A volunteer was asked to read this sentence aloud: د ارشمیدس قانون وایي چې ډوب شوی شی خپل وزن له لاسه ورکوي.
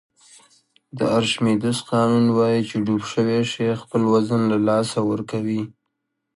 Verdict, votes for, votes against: accepted, 2, 1